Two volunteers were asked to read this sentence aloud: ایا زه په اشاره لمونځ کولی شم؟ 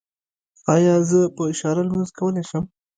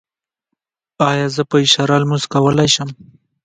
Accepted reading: second